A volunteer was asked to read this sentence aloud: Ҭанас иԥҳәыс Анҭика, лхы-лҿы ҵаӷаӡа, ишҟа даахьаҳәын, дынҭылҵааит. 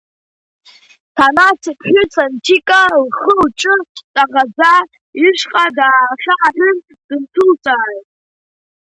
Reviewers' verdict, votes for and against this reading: rejected, 2, 3